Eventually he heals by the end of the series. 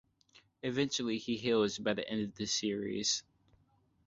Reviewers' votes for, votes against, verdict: 2, 0, accepted